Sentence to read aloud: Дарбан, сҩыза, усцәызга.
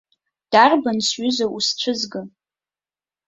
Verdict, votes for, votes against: accepted, 2, 0